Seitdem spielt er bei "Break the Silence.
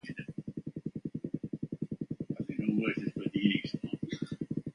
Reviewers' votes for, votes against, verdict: 0, 2, rejected